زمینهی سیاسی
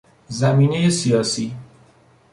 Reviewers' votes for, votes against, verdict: 2, 0, accepted